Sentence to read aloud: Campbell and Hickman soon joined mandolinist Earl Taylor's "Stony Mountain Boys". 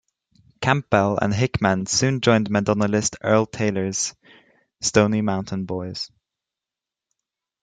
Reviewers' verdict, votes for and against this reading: rejected, 0, 2